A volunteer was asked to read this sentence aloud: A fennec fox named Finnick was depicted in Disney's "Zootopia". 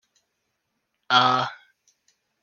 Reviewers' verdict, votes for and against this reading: rejected, 0, 2